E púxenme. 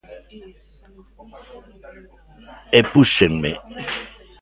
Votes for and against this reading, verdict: 2, 0, accepted